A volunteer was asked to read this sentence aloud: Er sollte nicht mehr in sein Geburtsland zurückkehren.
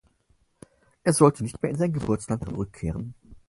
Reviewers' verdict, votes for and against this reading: accepted, 4, 0